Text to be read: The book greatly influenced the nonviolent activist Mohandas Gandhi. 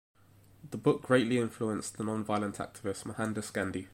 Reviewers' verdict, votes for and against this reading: rejected, 1, 2